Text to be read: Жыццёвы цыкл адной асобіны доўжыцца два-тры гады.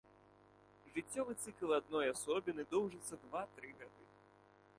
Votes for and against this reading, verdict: 0, 2, rejected